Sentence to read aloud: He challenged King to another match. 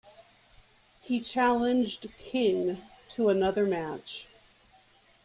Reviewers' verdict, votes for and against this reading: accepted, 2, 0